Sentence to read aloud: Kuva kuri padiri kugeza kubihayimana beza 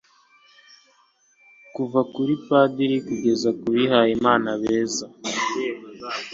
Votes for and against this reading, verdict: 2, 0, accepted